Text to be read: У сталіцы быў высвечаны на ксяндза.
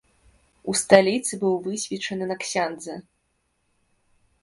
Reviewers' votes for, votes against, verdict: 0, 2, rejected